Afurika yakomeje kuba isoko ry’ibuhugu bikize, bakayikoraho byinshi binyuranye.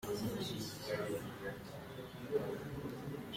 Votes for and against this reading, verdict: 0, 2, rejected